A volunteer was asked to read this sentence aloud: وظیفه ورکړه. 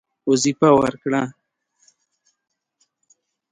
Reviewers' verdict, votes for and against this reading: accepted, 2, 0